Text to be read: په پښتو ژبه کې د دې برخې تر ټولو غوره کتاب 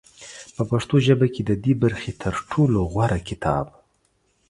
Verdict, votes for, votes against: accepted, 2, 0